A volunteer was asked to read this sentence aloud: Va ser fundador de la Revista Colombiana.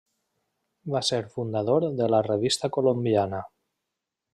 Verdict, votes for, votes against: accepted, 3, 0